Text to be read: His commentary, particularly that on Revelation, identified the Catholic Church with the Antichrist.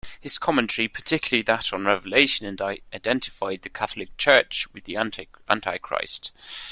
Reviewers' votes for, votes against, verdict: 0, 2, rejected